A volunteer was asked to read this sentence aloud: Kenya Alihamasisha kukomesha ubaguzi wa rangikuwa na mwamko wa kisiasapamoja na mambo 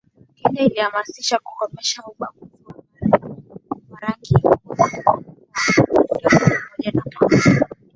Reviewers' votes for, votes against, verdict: 0, 2, rejected